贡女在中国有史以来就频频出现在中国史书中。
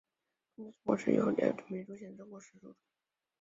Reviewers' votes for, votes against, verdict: 0, 2, rejected